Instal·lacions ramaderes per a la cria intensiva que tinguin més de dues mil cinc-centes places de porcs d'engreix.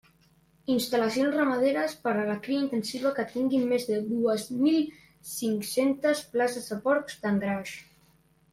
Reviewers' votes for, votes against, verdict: 0, 2, rejected